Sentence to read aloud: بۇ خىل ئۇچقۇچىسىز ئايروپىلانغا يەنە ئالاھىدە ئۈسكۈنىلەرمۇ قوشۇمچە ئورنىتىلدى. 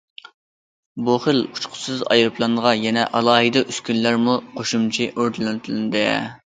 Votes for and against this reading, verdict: 0, 2, rejected